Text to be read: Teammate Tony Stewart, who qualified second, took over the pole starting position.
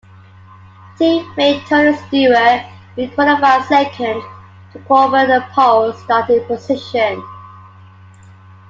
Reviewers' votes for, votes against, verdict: 2, 1, accepted